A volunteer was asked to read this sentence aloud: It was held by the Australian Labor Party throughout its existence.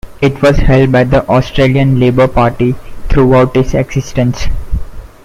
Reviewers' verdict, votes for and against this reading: accepted, 2, 0